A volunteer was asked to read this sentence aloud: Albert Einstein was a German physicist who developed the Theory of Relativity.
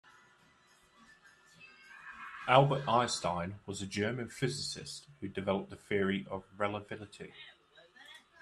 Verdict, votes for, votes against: rejected, 1, 2